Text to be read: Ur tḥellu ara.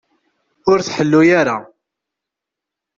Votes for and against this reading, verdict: 2, 0, accepted